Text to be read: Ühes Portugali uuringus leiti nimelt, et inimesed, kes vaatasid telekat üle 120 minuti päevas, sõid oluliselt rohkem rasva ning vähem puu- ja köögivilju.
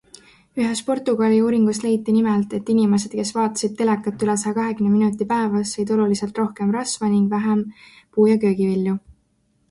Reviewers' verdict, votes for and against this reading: rejected, 0, 2